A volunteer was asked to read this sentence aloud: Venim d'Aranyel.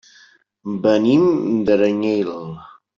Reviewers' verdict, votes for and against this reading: rejected, 0, 2